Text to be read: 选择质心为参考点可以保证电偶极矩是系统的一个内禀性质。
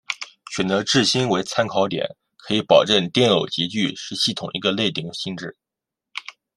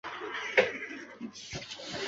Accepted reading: first